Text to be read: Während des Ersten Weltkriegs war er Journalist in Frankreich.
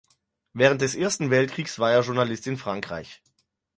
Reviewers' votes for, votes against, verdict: 4, 0, accepted